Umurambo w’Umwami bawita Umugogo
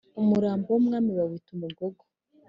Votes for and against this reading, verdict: 2, 0, accepted